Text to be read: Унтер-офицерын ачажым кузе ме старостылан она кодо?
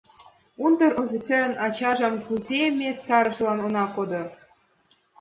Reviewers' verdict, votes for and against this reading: accepted, 2, 1